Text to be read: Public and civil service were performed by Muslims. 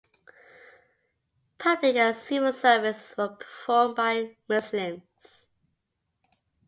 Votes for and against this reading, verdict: 0, 2, rejected